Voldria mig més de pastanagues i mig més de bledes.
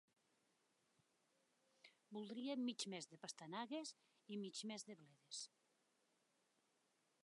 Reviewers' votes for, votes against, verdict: 0, 2, rejected